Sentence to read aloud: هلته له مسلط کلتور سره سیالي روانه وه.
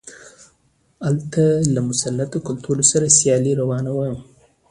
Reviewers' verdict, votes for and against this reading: accepted, 2, 0